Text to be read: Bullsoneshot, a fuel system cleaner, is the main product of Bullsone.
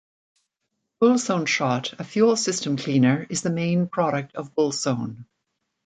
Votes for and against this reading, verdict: 2, 0, accepted